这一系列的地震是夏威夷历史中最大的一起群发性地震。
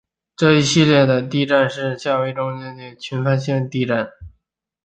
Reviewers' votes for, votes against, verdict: 0, 2, rejected